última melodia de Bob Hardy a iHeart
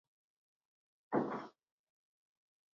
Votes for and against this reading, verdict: 0, 2, rejected